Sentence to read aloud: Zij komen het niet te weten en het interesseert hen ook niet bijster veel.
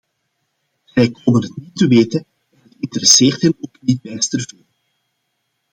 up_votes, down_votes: 0, 2